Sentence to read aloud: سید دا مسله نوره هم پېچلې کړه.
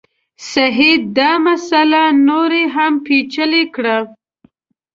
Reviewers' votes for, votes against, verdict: 2, 3, rejected